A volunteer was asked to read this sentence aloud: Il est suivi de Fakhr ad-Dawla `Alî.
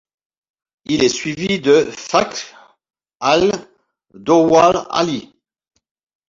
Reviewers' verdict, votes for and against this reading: rejected, 1, 2